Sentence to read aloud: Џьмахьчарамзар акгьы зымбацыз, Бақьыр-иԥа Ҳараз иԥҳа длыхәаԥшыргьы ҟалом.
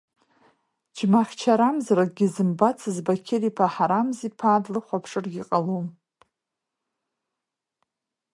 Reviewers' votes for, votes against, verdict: 0, 2, rejected